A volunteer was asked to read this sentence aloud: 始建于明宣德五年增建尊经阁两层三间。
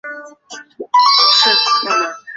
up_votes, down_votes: 0, 5